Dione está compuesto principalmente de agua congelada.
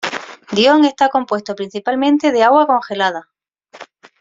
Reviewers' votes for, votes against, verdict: 2, 0, accepted